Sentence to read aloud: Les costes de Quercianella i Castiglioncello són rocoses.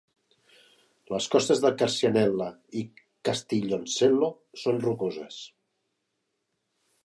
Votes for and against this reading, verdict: 0, 2, rejected